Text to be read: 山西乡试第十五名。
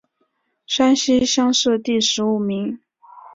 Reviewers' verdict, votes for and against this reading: accepted, 3, 1